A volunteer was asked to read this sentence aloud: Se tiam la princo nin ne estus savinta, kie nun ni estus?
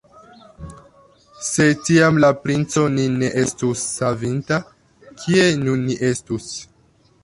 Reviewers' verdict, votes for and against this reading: accepted, 2, 1